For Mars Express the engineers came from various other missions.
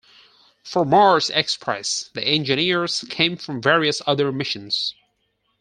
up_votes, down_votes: 4, 0